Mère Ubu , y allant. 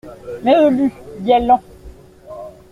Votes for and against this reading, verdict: 1, 2, rejected